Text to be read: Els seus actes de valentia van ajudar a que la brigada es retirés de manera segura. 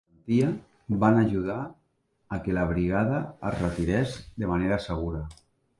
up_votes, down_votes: 0, 2